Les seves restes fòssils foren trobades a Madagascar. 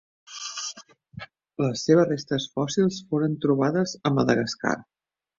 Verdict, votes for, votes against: rejected, 1, 2